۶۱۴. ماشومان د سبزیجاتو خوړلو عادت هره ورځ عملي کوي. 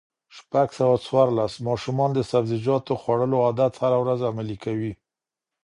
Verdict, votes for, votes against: rejected, 0, 2